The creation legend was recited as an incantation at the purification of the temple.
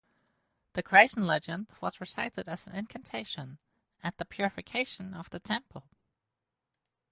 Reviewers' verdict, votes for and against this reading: rejected, 0, 2